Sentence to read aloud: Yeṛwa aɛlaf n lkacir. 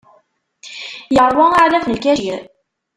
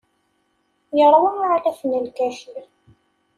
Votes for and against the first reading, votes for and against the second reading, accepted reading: 0, 2, 2, 0, second